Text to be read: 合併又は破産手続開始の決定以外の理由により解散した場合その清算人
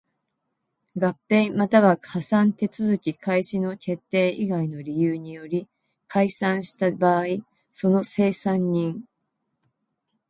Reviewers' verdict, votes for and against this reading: accepted, 2, 0